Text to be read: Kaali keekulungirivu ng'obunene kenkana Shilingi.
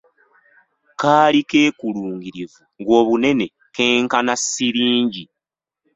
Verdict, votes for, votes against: rejected, 1, 2